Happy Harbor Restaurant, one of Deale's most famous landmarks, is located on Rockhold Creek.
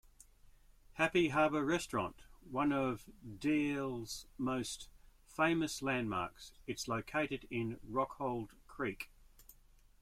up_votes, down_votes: 1, 2